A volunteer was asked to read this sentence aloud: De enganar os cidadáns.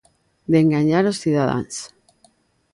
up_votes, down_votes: 3, 0